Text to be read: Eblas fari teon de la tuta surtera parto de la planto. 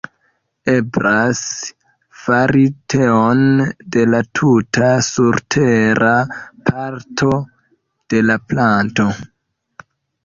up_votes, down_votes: 1, 2